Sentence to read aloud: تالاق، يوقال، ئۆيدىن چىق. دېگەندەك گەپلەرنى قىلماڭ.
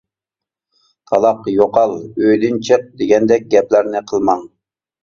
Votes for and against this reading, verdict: 2, 0, accepted